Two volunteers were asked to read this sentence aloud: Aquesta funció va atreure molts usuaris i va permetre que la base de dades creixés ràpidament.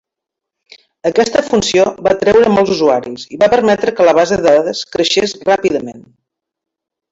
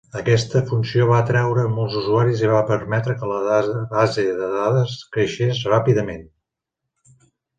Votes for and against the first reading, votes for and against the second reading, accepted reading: 2, 0, 0, 2, first